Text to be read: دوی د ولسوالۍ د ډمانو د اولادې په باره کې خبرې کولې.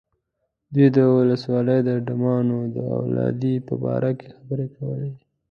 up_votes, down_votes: 0, 2